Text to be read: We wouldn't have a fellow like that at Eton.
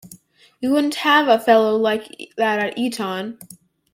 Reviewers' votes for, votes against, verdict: 0, 2, rejected